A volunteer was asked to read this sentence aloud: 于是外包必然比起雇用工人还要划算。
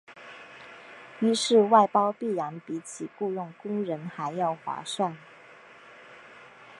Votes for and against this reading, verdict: 3, 2, accepted